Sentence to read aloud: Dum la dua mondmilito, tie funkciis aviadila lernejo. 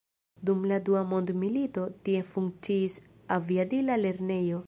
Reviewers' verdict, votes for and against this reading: accepted, 2, 0